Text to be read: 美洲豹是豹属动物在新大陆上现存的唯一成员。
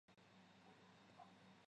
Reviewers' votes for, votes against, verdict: 1, 3, rejected